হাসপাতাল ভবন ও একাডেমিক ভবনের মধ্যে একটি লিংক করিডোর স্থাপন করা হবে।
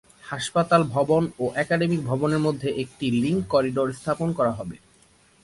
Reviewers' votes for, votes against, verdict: 9, 1, accepted